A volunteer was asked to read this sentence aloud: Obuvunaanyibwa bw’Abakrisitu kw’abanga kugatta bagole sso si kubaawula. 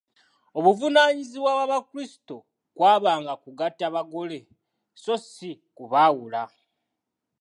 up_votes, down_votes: 2, 0